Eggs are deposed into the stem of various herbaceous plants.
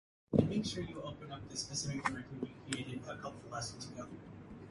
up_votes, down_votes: 0, 4